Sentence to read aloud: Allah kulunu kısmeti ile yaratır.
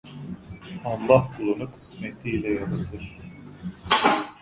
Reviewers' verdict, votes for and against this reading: rejected, 1, 2